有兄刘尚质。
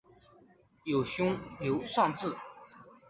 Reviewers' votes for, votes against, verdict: 3, 0, accepted